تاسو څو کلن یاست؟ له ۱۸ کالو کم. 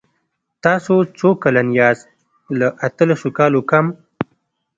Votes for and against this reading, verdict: 0, 2, rejected